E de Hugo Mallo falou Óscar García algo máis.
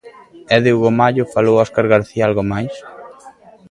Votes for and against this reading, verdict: 1, 2, rejected